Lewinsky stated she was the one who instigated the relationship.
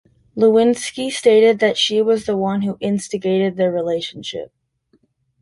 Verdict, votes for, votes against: accepted, 3, 1